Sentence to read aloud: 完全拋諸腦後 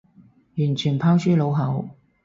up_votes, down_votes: 4, 0